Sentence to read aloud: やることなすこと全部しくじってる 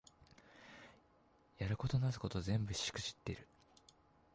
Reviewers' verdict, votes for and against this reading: rejected, 1, 2